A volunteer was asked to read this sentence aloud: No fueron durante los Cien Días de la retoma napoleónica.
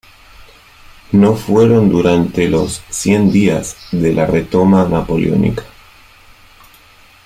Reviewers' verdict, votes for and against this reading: rejected, 1, 2